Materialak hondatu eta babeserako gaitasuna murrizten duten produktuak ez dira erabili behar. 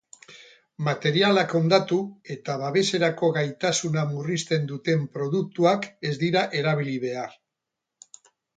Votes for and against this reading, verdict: 2, 2, rejected